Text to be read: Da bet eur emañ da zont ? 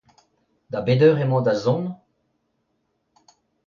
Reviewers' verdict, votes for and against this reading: accepted, 2, 0